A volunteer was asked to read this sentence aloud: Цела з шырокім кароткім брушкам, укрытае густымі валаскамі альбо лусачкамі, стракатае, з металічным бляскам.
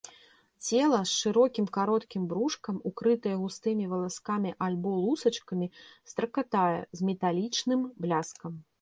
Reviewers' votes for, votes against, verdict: 1, 2, rejected